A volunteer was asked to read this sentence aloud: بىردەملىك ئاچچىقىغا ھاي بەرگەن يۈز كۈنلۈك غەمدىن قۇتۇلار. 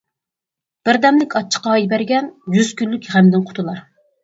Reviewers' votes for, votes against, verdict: 2, 4, rejected